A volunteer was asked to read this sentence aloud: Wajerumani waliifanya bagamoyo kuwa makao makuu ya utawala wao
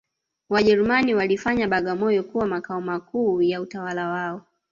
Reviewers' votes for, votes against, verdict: 1, 2, rejected